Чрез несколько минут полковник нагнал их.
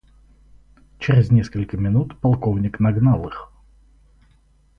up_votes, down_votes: 2, 0